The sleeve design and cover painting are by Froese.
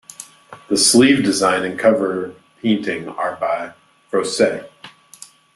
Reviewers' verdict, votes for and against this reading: rejected, 0, 2